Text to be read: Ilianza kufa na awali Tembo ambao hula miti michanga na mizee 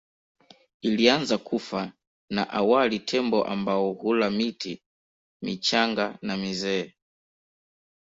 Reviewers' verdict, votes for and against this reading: accepted, 2, 0